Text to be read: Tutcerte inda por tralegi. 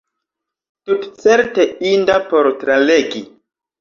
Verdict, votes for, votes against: accepted, 2, 0